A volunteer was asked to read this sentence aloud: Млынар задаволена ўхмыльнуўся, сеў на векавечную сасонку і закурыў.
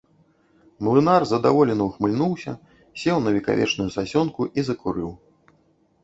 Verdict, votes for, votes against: rejected, 1, 2